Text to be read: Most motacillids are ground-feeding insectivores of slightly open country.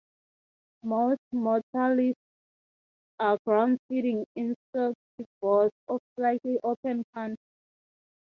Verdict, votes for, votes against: rejected, 3, 3